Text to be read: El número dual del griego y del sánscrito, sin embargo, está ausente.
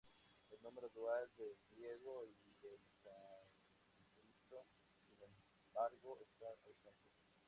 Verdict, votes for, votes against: rejected, 0, 2